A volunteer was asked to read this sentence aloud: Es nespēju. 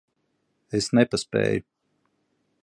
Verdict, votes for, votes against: rejected, 2, 10